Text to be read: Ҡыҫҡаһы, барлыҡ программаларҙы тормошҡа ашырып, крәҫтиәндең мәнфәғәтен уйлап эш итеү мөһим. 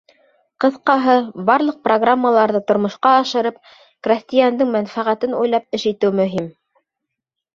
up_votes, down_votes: 2, 0